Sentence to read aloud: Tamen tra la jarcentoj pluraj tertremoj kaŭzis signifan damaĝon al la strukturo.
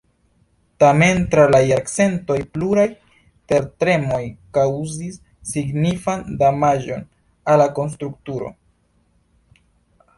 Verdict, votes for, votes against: accepted, 2, 0